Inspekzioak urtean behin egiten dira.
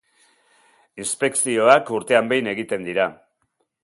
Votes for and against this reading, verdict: 2, 0, accepted